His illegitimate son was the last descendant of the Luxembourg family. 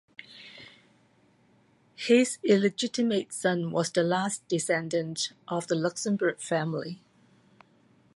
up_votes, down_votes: 2, 0